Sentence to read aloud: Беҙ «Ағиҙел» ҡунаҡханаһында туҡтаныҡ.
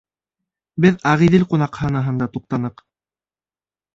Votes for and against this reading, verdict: 2, 0, accepted